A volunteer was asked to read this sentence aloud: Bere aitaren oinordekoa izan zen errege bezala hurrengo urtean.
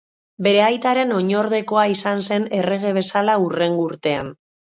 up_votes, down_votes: 2, 0